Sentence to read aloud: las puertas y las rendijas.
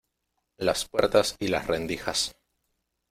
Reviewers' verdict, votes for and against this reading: accepted, 2, 0